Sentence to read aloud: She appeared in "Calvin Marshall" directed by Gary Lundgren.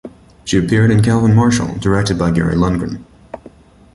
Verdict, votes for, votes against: accepted, 2, 0